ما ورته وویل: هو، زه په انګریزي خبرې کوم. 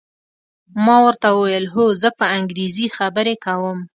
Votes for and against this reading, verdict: 2, 0, accepted